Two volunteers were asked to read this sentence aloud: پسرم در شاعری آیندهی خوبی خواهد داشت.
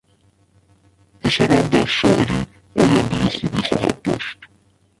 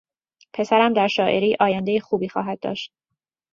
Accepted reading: second